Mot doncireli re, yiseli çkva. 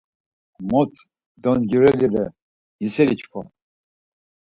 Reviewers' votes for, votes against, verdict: 4, 0, accepted